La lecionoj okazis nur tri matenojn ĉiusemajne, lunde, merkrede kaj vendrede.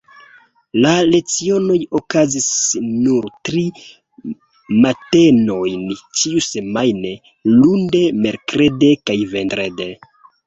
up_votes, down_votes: 2, 0